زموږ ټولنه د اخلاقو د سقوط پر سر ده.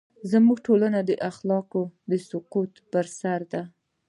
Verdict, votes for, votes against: accepted, 2, 0